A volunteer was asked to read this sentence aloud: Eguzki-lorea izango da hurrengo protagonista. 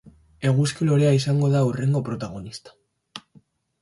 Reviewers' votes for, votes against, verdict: 2, 0, accepted